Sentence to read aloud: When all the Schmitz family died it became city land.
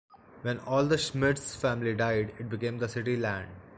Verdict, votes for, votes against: rejected, 0, 2